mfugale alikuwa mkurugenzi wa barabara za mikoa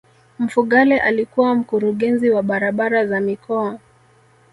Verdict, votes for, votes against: accepted, 3, 1